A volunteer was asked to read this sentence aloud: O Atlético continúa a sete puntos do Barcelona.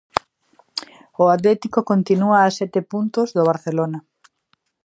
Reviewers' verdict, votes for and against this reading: accepted, 2, 0